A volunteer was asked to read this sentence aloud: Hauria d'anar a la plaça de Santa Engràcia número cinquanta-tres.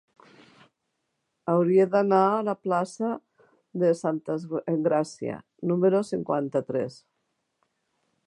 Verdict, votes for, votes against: rejected, 1, 2